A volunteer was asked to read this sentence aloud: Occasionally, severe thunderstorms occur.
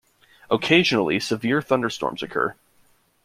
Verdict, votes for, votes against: accepted, 2, 0